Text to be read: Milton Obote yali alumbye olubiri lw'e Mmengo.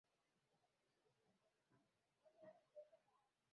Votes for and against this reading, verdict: 0, 2, rejected